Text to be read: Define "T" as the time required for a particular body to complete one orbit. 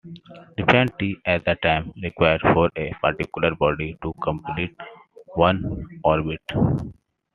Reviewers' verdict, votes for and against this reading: rejected, 0, 2